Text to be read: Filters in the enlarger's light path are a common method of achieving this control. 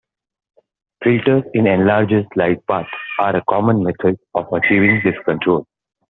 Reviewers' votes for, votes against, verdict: 3, 0, accepted